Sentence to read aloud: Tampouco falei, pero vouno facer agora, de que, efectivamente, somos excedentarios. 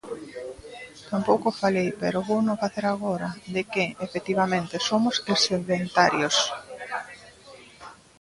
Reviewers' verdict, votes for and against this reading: rejected, 0, 2